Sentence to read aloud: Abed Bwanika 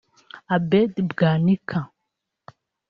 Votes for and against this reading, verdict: 0, 2, rejected